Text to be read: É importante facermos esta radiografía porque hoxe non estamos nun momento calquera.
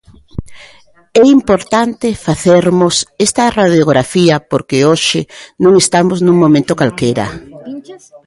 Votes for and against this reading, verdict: 2, 1, accepted